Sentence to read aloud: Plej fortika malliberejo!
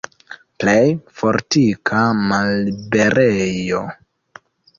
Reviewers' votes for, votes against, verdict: 2, 0, accepted